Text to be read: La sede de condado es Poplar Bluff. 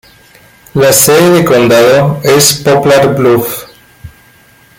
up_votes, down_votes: 2, 0